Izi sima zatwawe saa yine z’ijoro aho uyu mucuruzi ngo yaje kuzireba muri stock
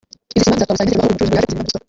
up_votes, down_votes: 0, 2